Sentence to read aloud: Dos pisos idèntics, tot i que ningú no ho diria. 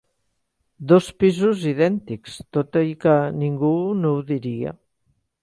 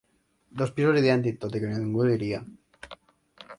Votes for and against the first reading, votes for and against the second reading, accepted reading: 3, 0, 0, 3, first